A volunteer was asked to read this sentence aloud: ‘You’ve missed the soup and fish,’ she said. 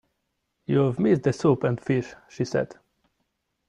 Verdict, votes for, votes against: accepted, 2, 1